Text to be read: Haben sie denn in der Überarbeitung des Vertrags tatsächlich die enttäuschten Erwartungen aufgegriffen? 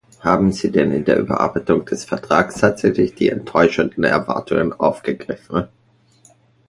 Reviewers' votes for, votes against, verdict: 1, 2, rejected